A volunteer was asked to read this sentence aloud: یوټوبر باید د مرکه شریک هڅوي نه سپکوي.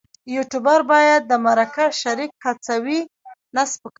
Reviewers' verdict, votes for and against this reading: rejected, 1, 2